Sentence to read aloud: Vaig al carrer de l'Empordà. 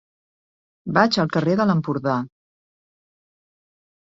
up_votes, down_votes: 4, 0